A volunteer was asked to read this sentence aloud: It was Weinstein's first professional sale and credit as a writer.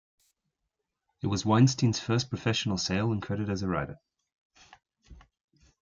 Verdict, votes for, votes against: accepted, 2, 0